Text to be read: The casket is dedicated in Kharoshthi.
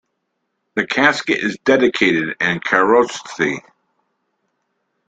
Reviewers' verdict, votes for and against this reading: accepted, 2, 0